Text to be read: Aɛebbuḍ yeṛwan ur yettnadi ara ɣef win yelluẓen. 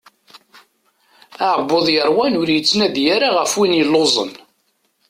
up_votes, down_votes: 2, 0